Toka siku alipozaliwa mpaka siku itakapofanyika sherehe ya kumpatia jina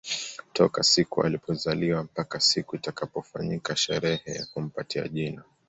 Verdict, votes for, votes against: accepted, 2, 0